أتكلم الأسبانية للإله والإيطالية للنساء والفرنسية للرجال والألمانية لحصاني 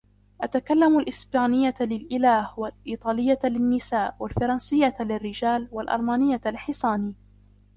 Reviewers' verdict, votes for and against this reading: rejected, 0, 2